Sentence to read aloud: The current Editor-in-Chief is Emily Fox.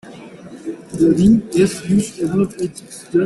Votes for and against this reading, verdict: 0, 2, rejected